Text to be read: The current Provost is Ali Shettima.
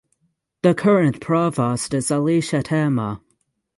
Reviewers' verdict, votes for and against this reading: rejected, 3, 3